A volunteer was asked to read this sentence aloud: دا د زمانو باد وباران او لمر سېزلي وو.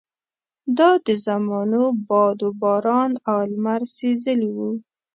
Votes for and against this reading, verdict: 3, 0, accepted